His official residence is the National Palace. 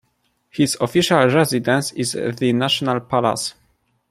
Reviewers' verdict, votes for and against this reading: accepted, 2, 0